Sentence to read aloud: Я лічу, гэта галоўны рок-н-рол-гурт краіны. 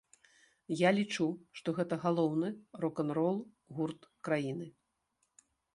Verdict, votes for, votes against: rejected, 1, 2